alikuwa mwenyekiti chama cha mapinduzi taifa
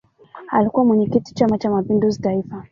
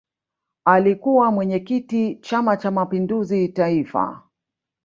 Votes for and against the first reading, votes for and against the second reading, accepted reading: 1, 2, 2, 1, second